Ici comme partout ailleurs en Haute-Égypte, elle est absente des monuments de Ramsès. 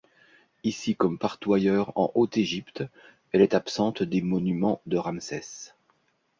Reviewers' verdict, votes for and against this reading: rejected, 0, 2